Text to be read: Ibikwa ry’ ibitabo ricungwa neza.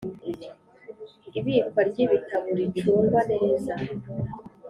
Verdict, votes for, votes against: accepted, 2, 0